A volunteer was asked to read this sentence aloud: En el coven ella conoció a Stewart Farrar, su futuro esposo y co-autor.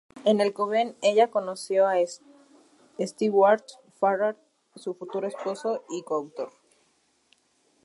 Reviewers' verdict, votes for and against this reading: rejected, 0, 2